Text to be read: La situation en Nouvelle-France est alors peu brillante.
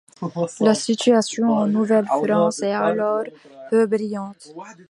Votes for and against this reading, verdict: 1, 2, rejected